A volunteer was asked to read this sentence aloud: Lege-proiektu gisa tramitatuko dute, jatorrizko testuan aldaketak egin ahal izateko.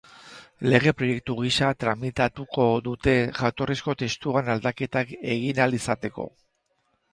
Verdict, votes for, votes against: accepted, 2, 0